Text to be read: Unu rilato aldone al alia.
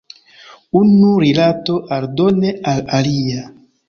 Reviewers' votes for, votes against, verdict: 2, 0, accepted